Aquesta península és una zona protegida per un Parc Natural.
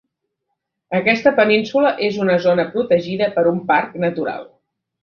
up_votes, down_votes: 2, 0